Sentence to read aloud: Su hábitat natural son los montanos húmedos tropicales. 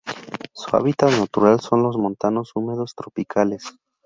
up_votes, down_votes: 4, 0